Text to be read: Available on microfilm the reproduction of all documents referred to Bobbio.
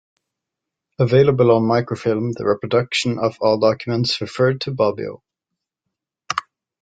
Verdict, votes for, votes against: accepted, 2, 0